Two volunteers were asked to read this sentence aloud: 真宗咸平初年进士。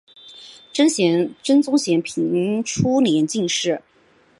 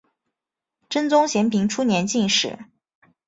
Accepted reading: second